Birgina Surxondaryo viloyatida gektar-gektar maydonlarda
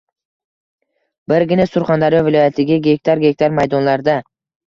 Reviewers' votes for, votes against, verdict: 1, 2, rejected